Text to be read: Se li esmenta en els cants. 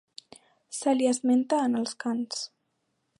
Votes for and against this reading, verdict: 2, 0, accepted